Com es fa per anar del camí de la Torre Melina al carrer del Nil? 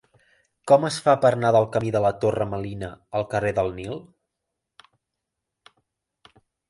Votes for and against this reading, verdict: 1, 2, rejected